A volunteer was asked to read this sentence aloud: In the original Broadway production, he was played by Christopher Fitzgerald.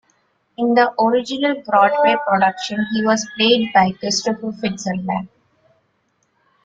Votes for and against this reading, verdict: 0, 2, rejected